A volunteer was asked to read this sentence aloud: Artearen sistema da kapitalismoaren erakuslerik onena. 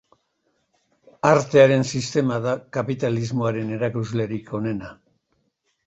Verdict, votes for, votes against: accepted, 2, 0